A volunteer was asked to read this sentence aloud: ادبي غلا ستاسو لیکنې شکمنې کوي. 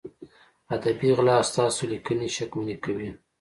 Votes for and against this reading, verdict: 2, 0, accepted